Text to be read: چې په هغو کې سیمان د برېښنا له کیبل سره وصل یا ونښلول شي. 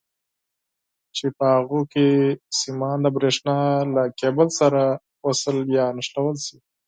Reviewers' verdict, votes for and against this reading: accepted, 4, 0